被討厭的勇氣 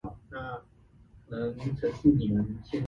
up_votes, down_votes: 0, 2